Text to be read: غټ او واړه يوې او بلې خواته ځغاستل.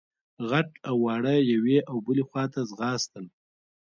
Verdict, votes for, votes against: accepted, 2, 0